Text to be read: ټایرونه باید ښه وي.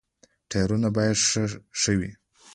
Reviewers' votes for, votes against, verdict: 1, 2, rejected